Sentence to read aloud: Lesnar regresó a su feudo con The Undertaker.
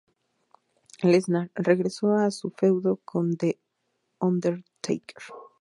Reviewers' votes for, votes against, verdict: 0, 2, rejected